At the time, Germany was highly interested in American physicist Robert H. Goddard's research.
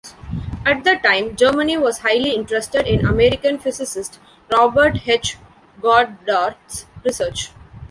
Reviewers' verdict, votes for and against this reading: rejected, 1, 2